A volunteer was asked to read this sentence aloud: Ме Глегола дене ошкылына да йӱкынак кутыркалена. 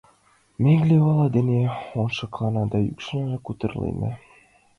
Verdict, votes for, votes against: rejected, 1, 2